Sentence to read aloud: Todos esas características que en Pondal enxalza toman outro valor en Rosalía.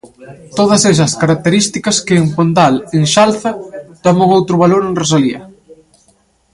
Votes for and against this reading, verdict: 2, 0, accepted